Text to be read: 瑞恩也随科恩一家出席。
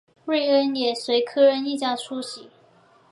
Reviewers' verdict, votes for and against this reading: accepted, 3, 0